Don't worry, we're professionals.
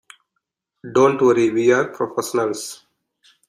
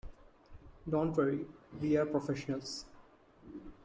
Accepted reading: first